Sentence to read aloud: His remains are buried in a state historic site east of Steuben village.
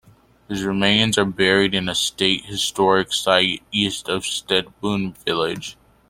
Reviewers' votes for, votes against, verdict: 1, 2, rejected